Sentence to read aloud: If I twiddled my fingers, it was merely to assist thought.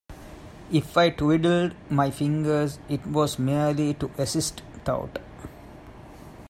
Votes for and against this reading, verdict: 0, 2, rejected